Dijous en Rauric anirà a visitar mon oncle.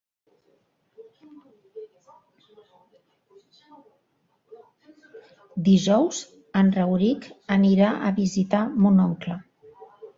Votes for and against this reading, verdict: 1, 2, rejected